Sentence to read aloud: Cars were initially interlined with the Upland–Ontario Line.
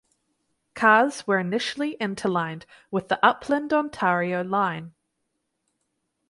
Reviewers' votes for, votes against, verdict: 4, 0, accepted